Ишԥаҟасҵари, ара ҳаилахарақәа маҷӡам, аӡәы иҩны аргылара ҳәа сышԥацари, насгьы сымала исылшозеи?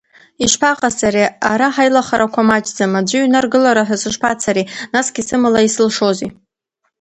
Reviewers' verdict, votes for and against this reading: accepted, 2, 0